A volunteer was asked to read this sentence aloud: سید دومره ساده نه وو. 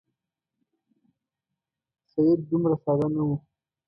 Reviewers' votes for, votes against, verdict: 2, 1, accepted